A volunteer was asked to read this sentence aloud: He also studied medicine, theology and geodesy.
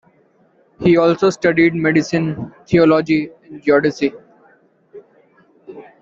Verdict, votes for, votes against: accepted, 2, 0